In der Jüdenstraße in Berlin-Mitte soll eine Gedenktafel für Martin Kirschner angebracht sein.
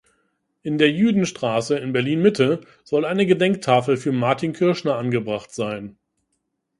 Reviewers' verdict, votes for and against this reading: accepted, 2, 0